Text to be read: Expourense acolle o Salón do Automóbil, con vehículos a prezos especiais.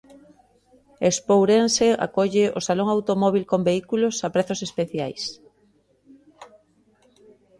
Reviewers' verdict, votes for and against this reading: rejected, 0, 2